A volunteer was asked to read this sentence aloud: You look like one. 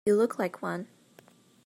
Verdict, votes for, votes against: accepted, 2, 0